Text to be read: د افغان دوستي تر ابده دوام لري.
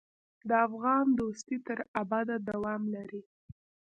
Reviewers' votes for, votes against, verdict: 2, 1, accepted